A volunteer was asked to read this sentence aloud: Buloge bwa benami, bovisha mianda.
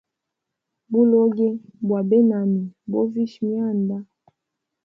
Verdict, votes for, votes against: rejected, 0, 2